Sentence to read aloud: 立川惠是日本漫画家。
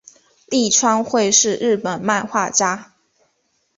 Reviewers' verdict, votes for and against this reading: accepted, 3, 0